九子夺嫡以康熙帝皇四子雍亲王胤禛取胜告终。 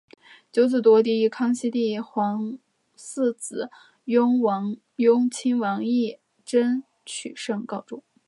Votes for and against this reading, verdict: 3, 0, accepted